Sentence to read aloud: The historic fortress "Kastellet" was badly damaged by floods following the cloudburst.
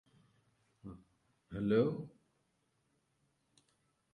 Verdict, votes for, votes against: rejected, 0, 2